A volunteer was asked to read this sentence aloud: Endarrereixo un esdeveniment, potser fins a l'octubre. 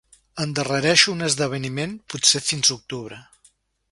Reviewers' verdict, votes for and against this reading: rejected, 1, 2